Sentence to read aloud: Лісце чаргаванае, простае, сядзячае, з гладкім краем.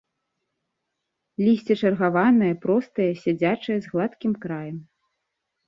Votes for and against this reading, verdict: 2, 0, accepted